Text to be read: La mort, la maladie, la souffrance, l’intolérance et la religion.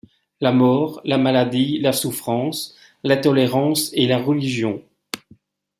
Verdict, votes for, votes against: accepted, 2, 0